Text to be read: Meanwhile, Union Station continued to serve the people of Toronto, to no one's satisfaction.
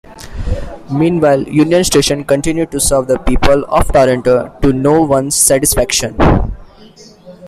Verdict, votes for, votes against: rejected, 1, 2